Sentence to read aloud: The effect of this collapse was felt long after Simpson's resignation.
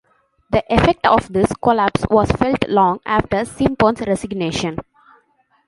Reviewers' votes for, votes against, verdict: 1, 2, rejected